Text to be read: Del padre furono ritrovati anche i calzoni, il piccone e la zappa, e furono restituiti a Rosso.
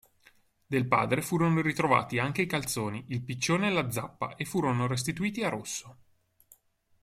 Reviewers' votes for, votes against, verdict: 1, 2, rejected